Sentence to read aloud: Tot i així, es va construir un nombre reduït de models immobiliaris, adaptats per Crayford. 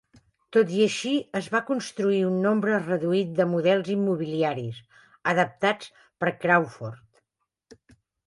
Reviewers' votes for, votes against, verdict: 0, 2, rejected